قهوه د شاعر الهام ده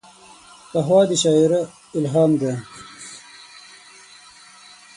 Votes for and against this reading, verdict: 3, 6, rejected